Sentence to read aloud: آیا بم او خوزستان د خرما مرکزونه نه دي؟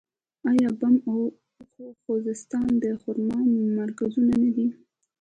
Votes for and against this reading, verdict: 1, 2, rejected